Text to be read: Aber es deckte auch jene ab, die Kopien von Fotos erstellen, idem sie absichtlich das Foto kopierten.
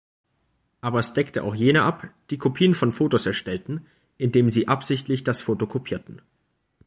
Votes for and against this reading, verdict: 1, 2, rejected